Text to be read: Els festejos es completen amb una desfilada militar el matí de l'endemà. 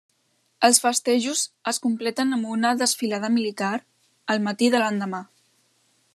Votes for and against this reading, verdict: 3, 0, accepted